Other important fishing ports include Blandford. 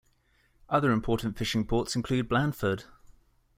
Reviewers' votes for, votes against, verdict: 2, 0, accepted